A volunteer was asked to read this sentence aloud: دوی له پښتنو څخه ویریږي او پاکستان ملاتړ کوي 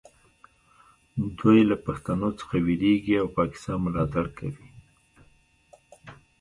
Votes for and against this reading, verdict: 0, 2, rejected